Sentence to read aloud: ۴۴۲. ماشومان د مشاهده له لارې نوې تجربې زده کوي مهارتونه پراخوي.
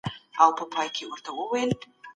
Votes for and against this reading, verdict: 0, 2, rejected